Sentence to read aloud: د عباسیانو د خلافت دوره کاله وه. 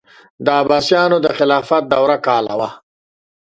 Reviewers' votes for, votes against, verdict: 2, 0, accepted